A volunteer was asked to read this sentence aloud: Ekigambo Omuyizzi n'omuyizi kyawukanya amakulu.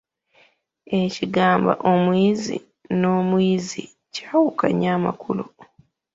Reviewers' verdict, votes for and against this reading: rejected, 1, 2